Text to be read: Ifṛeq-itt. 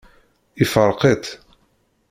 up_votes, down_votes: 1, 2